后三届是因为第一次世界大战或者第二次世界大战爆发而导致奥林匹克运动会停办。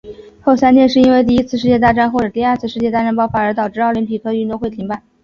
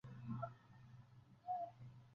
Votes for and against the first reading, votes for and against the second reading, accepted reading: 2, 0, 0, 2, first